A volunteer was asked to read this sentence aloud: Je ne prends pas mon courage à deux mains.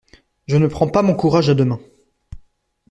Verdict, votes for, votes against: accepted, 2, 0